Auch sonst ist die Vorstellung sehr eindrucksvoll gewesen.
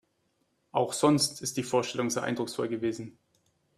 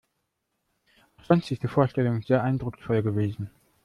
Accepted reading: first